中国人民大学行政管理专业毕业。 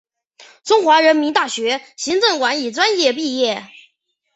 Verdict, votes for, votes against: accepted, 5, 0